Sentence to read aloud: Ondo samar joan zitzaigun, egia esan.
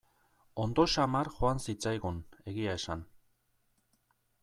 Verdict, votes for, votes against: accepted, 2, 0